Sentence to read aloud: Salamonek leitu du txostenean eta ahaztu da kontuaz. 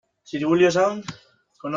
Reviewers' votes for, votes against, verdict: 0, 2, rejected